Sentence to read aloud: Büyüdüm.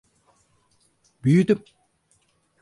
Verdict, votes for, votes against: accepted, 4, 0